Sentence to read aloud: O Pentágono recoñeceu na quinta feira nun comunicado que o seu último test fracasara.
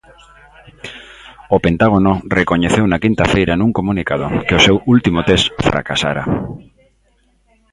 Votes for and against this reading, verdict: 2, 0, accepted